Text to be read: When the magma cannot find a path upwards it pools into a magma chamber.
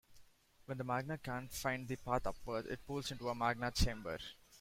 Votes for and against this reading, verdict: 1, 2, rejected